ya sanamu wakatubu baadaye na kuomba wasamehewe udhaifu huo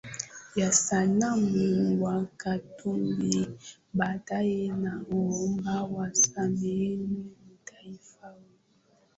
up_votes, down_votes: 1, 2